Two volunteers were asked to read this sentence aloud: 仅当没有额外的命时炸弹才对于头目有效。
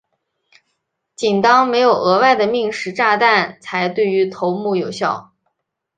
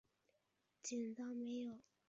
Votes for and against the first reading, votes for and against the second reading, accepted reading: 2, 0, 0, 3, first